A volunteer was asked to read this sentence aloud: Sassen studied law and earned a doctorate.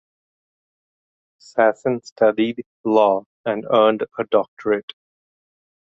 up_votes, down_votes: 2, 0